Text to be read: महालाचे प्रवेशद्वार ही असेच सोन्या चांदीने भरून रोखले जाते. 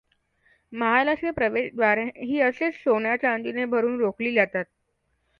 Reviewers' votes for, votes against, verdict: 2, 0, accepted